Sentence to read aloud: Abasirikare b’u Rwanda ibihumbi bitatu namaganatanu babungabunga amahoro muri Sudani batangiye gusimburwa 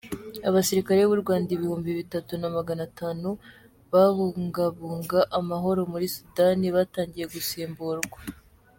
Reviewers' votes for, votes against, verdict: 2, 0, accepted